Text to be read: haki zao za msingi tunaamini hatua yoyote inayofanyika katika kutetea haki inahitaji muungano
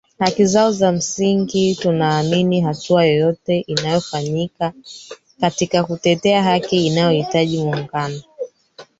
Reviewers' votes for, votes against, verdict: 1, 3, rejected